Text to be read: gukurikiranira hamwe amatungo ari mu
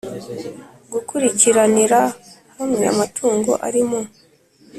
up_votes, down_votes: 2, 0